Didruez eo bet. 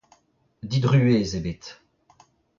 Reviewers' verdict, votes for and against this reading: accepted, 2, 1